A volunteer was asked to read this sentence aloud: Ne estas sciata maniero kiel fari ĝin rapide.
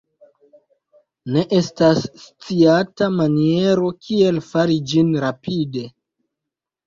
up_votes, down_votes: 1, 2